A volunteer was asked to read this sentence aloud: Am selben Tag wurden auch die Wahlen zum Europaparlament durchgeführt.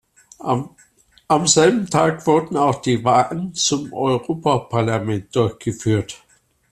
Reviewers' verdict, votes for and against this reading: rejected, 0, 2